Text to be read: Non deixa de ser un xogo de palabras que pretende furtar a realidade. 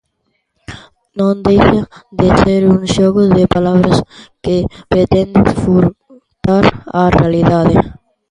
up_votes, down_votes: 0, 2